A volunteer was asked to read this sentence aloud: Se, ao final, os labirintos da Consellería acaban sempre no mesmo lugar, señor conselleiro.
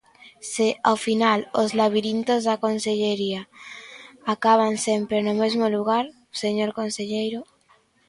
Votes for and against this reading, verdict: 2, 0, accepted